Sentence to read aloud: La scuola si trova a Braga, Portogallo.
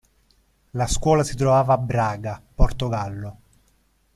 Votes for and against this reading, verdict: 1, 2, rejected